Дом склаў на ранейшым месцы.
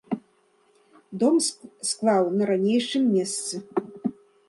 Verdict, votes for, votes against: rejected, 0, 2